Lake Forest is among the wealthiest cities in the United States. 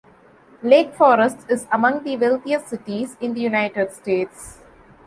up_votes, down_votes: 2, 0